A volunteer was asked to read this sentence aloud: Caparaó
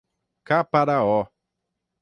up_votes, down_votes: 6, 0